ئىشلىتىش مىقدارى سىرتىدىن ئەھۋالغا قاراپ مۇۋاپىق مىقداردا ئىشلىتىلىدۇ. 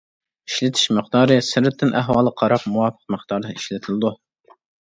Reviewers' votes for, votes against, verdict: 1, 2, rejected